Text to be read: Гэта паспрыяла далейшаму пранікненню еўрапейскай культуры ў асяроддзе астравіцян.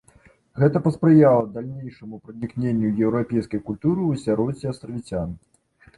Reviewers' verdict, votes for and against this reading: rejected, 1, 2